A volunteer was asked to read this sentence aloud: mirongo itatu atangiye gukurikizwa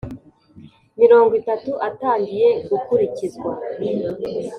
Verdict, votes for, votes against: accepted, 6, 0